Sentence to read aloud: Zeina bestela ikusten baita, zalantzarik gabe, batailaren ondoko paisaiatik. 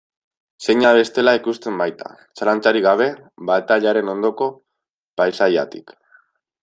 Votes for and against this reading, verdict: 2, 0, accepted